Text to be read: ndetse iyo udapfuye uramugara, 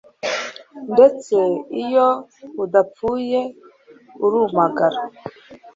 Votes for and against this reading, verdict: 1, 2, rejected